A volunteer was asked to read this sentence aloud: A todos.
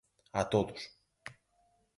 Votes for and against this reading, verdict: 4, 0, accepted